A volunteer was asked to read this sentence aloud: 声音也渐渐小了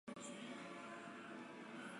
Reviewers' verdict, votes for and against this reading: rejected, 1, 2